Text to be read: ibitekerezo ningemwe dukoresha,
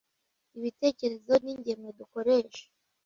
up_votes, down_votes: 2, 0